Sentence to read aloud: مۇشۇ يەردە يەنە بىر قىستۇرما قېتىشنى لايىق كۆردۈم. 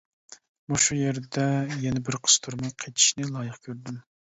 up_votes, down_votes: 2, 0